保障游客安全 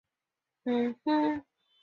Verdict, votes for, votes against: rejected, 0, 2